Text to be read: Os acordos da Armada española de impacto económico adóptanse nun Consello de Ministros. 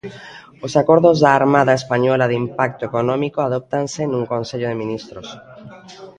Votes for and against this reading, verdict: 0, 2, rejected